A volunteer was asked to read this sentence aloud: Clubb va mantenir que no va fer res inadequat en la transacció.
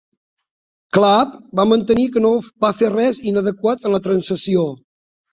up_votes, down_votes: 0, 2